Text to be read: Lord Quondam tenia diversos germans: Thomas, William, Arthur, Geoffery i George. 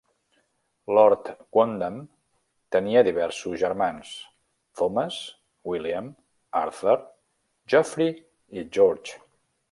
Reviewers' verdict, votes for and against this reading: accepted, 3, 0